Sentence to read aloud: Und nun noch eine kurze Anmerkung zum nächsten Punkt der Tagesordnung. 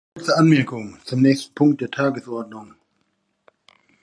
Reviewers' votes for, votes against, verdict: 1, 2, rejected